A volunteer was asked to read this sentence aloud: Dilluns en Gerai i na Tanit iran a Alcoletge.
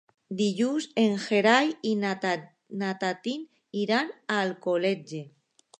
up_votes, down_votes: 0, 2